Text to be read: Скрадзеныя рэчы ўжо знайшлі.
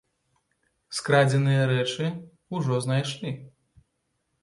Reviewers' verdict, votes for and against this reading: rejected, 0, 2